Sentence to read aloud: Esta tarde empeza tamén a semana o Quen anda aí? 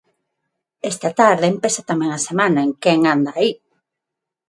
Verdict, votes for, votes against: rejected, 3, 3